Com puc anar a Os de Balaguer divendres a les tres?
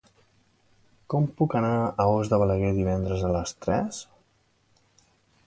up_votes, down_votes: 2, 0